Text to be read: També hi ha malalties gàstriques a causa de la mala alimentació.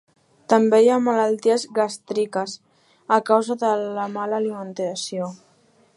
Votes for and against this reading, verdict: 0, 2, rejected